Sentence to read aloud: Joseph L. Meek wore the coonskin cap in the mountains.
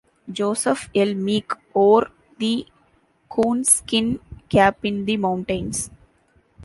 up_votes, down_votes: 2, 0